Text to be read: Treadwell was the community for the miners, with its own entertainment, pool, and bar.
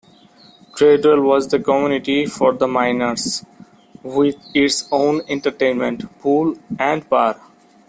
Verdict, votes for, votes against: accepted, 2, 0